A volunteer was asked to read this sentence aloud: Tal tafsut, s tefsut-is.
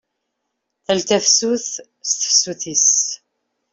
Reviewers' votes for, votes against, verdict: 2, 0, accepted